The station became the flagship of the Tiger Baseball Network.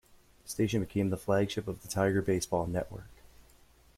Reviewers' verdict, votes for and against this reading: rejected, 1, 2